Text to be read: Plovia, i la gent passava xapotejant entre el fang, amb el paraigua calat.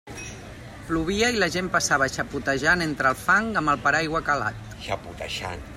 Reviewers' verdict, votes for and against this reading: rejected, 0, 2